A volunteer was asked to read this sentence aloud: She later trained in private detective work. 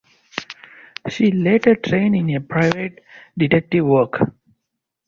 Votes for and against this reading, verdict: 4, 6, rejected